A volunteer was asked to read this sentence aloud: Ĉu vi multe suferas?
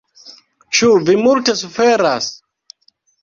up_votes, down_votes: 0, 2